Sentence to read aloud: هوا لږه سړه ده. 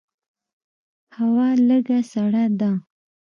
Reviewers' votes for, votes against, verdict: 2, 0, accepted